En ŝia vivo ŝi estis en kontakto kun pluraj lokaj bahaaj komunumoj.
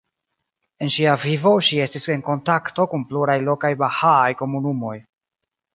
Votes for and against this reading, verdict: 0, 2, rejected